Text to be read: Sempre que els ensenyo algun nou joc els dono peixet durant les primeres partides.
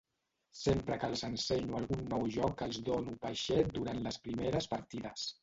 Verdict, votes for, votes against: accepted, 2, 1